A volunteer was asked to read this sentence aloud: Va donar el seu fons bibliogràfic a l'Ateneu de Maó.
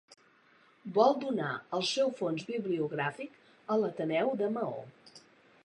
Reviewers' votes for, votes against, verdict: 1, 2, rejected